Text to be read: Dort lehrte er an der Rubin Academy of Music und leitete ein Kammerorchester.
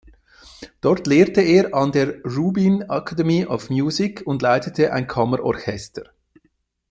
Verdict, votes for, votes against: rejected, 0, 2